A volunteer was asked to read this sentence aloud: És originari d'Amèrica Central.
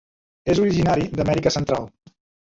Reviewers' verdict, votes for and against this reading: accepted, 2, 0